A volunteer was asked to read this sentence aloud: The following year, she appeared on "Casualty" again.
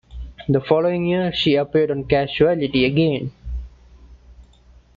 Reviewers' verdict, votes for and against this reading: accepted, 2, 0